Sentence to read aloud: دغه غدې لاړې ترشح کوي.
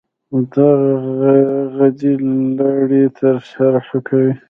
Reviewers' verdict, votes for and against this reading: rejected, 0, 2